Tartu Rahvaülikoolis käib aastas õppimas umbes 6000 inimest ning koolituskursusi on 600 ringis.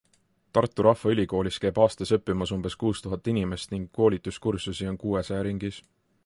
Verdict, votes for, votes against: rejected, 0, 2